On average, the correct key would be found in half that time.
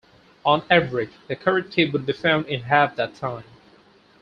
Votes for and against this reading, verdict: 0, 4, rejected